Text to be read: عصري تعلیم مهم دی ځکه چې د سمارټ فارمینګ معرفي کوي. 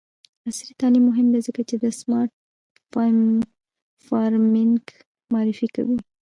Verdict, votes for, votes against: rejected, 1, 2